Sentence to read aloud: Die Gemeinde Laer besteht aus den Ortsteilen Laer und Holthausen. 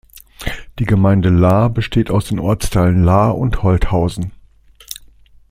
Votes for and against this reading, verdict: 2, 1, accepted